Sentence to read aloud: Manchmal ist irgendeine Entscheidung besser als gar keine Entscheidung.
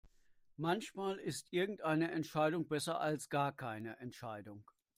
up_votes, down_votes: 2, 0